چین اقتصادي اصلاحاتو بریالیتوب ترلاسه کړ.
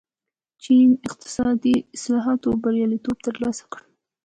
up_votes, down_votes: 2, 0